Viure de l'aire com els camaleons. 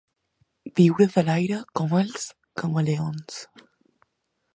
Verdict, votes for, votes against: accepted, 2, 0